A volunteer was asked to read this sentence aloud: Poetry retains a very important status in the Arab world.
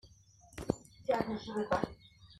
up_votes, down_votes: 0, 2